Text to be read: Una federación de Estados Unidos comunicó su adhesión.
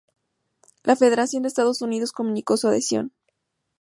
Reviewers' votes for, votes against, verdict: 0, 2, rejected